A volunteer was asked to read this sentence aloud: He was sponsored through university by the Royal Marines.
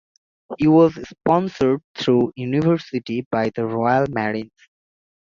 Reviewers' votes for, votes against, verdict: 2, 0, accepted